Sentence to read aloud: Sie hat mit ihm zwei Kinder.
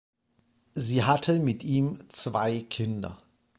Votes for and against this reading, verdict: 1, 3, rejected